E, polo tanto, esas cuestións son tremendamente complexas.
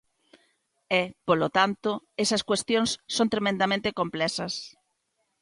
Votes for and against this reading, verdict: 2, 0, accepted